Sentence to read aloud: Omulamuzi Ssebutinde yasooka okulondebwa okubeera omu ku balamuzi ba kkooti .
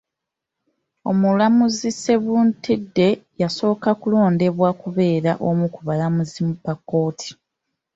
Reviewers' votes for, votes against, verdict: 0, 2, rejected